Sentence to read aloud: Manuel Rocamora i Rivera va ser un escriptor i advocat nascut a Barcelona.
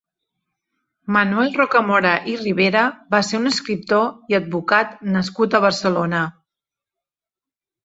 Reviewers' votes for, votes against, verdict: 3, 0, accepted